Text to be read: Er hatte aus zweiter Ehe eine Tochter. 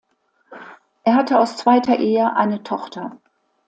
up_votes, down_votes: 2, 0